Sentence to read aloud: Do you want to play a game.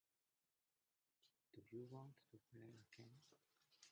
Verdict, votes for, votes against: rejected, 0, 2